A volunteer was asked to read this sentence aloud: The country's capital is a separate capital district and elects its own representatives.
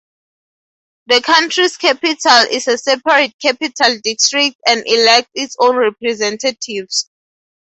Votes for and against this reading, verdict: 4, 0, accepted